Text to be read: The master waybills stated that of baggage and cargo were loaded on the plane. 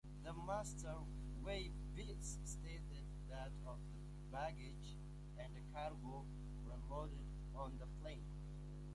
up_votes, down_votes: 0, 2